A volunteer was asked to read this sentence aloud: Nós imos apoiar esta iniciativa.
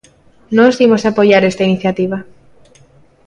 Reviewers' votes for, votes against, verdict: 2, 0, accepted